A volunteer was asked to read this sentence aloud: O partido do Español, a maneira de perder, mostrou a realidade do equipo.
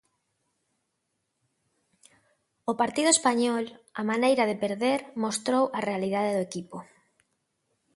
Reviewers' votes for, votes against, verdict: 0, 2, rejected